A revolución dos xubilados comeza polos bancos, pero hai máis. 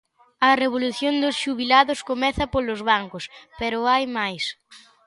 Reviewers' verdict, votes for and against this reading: accepted, 2, 0